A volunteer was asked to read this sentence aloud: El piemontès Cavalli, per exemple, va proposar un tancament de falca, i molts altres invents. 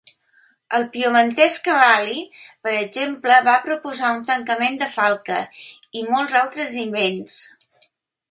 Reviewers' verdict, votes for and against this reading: accepted, 2, 0